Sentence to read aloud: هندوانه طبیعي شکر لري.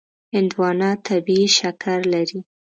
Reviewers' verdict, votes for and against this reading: accepted, 2, 0